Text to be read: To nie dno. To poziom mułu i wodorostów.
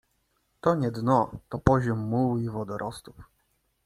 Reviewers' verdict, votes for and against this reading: accepted, 2, 0